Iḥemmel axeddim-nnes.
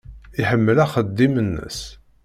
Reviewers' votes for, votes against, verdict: 2, 0, accepted